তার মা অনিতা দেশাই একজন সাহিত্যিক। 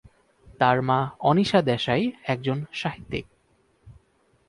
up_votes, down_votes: 4, 8